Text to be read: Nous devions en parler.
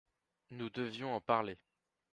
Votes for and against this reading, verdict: 1, 3, rejected